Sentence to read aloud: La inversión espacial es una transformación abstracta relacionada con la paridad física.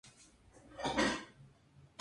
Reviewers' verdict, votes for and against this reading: rejected, 0, 2